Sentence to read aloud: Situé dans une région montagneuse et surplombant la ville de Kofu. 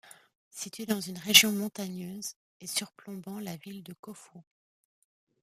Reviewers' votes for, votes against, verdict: 1, 2, rejected